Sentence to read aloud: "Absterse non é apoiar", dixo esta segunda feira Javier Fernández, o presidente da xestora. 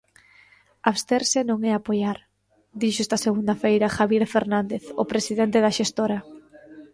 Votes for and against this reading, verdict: 1, 2, rejected